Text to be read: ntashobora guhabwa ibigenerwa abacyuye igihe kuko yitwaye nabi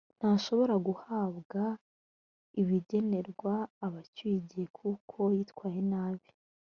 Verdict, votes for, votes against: accepted, 2, 0